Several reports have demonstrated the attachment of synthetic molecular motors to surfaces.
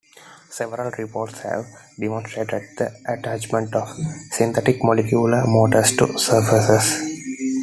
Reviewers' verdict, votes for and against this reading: accepted, 2, 0